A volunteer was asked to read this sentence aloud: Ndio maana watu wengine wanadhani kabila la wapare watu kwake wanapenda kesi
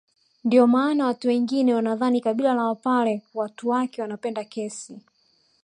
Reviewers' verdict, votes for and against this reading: accepted, 2, 0